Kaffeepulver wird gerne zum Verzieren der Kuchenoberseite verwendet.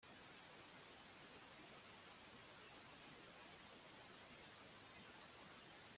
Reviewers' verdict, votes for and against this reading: rejected, 0, 2